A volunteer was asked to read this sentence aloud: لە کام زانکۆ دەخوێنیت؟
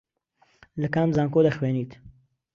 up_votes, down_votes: 2, 0